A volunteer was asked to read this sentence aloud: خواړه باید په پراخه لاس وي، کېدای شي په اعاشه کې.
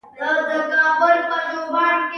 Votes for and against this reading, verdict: 0, 2, rejected